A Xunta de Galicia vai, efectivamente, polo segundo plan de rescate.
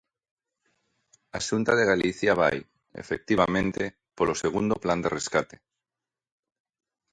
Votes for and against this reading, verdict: 2, 1, accepted